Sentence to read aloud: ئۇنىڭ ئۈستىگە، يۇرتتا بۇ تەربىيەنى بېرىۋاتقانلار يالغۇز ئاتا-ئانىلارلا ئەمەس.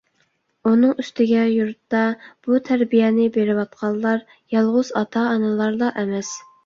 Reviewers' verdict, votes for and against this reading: accepted, 2, 0